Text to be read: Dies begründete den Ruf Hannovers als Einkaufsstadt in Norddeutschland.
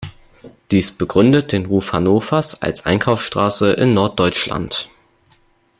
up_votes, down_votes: 0, 2